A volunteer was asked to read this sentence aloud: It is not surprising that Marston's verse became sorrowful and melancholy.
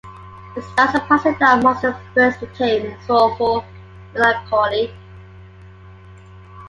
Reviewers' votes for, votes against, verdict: 0, 2, rejected